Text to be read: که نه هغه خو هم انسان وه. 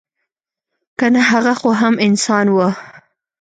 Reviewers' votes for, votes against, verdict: 2, 0, accepted